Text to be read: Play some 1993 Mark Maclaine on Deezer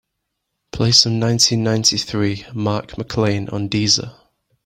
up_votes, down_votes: 0, 2